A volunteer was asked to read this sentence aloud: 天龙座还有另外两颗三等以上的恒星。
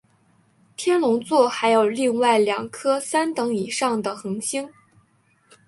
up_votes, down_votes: 5, 0